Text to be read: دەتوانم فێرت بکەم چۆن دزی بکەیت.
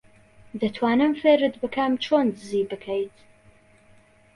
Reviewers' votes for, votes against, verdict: 2, 0, accepted